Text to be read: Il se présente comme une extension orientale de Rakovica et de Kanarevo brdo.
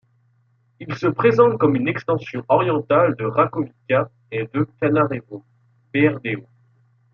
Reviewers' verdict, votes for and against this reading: rejected, 1, 2